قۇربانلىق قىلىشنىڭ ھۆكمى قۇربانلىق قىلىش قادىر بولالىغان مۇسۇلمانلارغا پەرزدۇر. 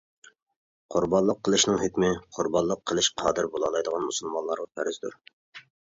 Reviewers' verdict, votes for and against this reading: rejected, 1, 2